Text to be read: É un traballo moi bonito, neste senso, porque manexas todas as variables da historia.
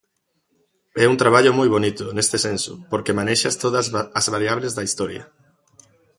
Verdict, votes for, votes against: rejected, 0, 2